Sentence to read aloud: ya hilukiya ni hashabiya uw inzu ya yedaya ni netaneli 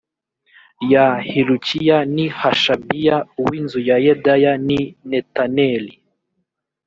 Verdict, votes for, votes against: accepted, 2, 0